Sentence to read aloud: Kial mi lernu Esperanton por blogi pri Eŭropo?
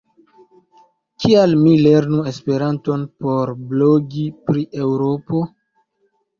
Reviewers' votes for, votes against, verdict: 2, 0, accepted